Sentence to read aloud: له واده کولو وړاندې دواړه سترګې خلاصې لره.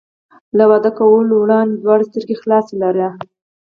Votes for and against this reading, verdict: 4, 0, accepted